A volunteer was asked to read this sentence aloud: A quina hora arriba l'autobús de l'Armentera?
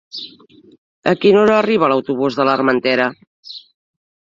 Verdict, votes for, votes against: accepted, 3, 0